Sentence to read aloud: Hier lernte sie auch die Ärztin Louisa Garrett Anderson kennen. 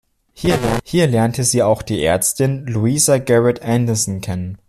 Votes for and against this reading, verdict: 0, 2, rejected